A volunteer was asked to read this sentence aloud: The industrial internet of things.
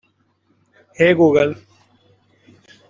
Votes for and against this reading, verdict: 0, 2, rejected